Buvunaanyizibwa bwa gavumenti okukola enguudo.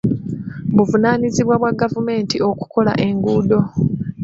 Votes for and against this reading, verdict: 1, 2, rejected